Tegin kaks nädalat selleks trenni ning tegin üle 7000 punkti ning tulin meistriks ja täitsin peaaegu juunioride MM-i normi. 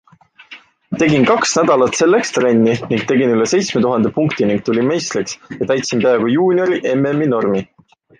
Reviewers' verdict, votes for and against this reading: rejected, 0, 2